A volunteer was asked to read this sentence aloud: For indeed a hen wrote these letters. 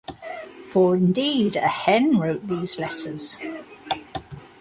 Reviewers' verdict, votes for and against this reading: accepted, 2, 0